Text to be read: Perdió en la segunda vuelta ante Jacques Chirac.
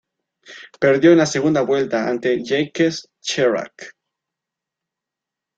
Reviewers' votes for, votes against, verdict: 2, 3, rejected